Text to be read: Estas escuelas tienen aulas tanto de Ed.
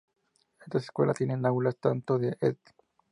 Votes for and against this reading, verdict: 0, 2, rejected